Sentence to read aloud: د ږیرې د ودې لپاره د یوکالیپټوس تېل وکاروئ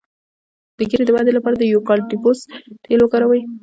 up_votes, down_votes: 1, 2